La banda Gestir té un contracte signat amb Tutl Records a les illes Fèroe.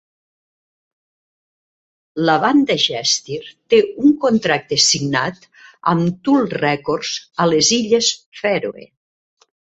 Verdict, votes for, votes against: accepted, 3, 0